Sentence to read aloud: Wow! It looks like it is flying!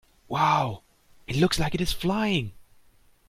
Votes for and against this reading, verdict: 2, 0, accepted